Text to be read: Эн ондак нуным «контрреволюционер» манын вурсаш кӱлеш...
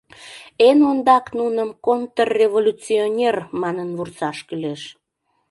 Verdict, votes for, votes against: accepted, 2, 0